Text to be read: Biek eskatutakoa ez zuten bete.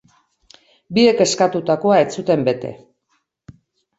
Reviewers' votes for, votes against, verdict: 2, 0, accepted